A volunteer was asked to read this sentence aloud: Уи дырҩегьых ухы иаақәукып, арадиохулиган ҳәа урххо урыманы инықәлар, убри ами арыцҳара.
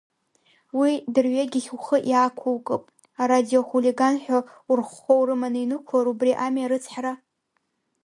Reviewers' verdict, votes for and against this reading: rejected, 2, 3